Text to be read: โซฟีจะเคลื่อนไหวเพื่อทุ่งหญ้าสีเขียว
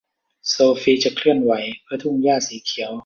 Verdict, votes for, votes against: rejected, 1, 2